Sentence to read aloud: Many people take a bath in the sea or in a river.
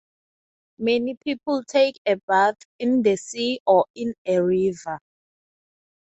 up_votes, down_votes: 6, 0